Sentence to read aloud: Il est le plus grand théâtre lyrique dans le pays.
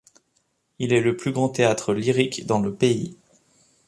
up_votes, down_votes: 2, 0